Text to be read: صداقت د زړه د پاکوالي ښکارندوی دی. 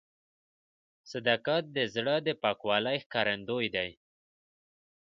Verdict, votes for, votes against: rejected, 0, 2